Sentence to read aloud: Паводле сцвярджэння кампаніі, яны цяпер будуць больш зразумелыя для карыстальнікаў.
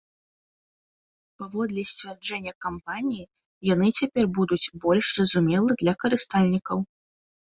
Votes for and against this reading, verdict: 1, 2, rejected